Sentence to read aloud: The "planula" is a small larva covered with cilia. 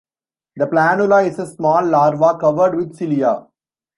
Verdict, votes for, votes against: accepted, 3, 1